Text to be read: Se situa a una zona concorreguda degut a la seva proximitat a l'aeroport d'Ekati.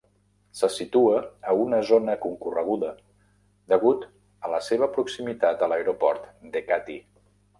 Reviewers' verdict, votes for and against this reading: accepted, 2, 0